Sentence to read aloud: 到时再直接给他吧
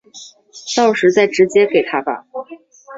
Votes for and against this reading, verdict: 2, 0, accepted